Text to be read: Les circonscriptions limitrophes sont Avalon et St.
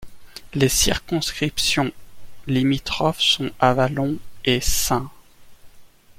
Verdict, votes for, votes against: accepted, 2, 0